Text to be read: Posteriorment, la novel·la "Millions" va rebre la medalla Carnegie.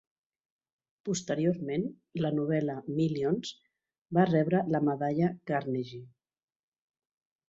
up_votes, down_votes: 3, 0